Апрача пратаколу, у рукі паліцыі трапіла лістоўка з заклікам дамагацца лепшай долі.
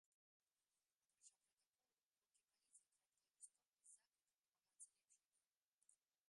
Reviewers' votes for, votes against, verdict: 0, 2, rejected